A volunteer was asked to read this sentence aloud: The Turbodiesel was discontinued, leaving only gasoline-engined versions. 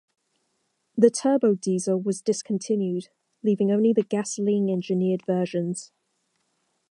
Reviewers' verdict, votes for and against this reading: rejected, 0, 2